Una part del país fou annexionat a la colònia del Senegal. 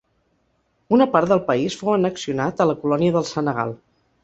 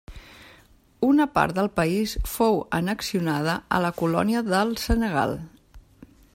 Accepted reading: first